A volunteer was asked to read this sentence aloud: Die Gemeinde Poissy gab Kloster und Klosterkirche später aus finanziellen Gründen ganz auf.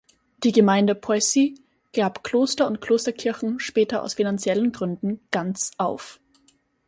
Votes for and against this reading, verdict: 2, 4, rejected